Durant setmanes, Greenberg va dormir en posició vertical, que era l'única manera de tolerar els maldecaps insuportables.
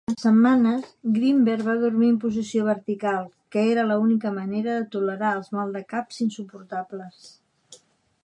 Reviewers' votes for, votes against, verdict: 0, 2, rejected